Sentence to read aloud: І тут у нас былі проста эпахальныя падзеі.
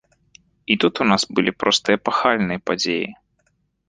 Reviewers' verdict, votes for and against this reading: accepted, 2, 0